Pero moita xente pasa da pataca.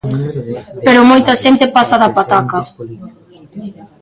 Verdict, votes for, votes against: rejected, 0, 2